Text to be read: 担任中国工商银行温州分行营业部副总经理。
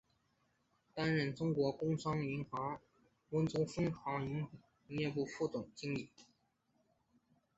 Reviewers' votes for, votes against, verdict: 4, 2, accepted